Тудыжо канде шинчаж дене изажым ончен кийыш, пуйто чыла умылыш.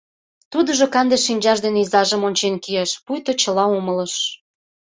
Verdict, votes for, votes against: accepted, 2, 0